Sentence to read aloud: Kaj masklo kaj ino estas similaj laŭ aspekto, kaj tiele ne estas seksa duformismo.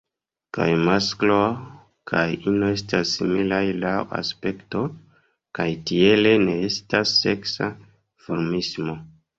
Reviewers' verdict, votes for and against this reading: accepted, 2, 1